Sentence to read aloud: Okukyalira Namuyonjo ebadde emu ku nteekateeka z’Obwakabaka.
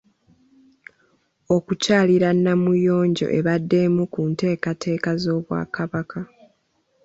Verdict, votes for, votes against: accepted, 2, 0